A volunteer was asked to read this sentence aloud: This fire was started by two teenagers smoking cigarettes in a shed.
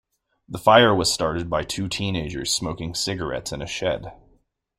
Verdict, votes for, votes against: rejected, 1, 2